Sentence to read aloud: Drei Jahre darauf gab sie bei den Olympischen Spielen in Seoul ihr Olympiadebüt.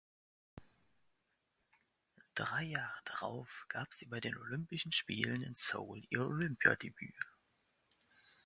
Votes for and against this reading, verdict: 2, 0, accepted